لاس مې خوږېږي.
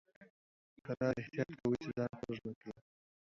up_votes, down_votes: 0, 2